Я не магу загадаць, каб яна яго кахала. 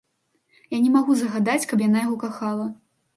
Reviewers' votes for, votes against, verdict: 2, 0, accepted